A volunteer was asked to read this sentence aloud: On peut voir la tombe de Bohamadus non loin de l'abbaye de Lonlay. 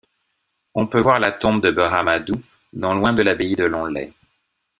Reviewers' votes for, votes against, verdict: 1, 2, rejected